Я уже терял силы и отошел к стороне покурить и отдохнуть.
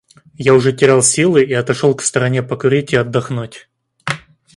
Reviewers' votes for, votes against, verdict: 2, 0, accepted